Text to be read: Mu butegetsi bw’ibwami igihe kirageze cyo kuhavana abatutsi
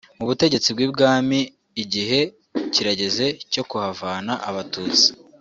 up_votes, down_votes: 3, 0